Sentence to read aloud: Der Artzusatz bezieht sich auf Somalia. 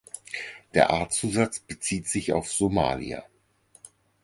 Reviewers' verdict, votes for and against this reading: accepted, 4, 0